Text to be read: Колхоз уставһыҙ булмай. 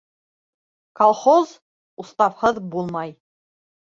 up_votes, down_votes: 2, 0